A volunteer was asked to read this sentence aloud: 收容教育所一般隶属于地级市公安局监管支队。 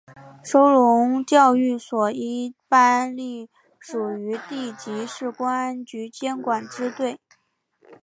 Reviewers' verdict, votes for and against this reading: accepted, 2, 0